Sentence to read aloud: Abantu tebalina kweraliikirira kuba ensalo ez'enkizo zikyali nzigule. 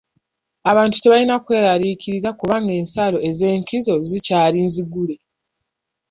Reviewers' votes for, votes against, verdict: 2, 1, accepted